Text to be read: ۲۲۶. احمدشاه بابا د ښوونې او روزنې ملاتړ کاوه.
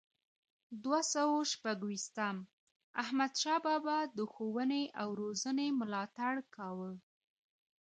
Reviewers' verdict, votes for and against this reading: rejected, 0, 2